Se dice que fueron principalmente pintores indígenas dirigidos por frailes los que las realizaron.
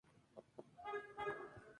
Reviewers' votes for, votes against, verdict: 0, 2, rejected